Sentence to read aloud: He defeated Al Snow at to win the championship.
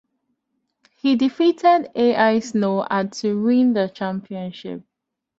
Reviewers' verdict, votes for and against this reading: rejected, 1, 2